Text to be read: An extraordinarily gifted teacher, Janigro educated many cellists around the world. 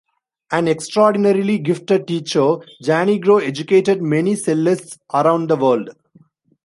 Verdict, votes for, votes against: accepted, 2, 0